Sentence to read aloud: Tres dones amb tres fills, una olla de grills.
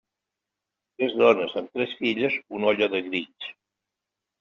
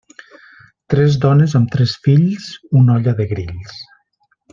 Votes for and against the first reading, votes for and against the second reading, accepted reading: 0, 2, 3, 0, second